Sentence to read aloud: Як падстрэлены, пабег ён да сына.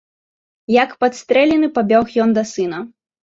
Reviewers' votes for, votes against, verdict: 1, 2, rejected